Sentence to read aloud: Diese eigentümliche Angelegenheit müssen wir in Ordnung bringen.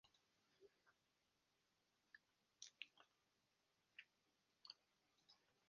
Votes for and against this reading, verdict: 0, 4, rejected